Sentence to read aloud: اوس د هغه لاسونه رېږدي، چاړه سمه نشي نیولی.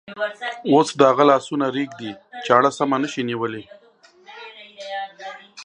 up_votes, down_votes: 2, 1